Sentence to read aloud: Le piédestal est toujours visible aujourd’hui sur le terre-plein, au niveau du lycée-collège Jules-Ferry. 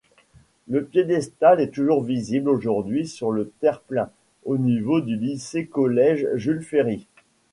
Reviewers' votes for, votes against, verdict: 2, 0, accepted